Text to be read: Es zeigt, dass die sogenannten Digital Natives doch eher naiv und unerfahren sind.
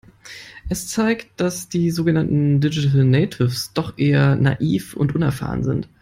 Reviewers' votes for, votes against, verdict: 2, 1, accepted